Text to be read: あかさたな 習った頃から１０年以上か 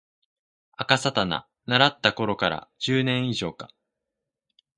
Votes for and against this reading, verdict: 0, 2, rejected